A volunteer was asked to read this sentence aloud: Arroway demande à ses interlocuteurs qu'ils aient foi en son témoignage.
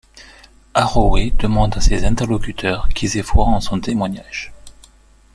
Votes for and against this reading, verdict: 2, 0, accepted